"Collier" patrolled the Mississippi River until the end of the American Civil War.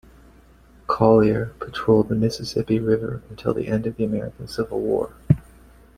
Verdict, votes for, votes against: accepted, 2, 1